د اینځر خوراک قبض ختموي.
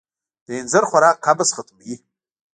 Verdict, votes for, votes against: rejected, 1, 2